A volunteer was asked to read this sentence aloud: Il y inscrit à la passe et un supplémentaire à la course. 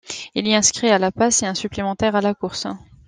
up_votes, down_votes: 2, 0